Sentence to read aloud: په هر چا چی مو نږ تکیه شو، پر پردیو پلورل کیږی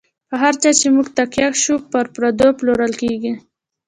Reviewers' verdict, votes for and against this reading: rejected, 1, 2